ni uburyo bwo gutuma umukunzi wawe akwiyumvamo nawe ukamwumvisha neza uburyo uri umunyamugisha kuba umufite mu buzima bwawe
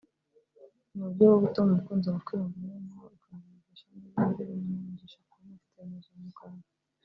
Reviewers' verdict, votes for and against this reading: rejected, 0, 2